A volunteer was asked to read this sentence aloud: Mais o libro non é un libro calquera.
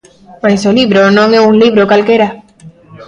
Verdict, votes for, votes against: rejected, 1, 2